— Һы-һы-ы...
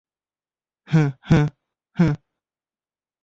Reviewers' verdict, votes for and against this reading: rejected, 0, 2